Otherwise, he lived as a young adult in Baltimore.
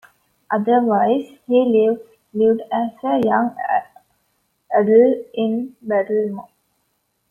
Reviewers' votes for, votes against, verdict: 2, 0, accepted